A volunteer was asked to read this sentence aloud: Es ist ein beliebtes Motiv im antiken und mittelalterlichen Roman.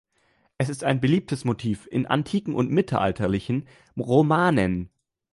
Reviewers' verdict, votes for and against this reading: rejected, 1, 2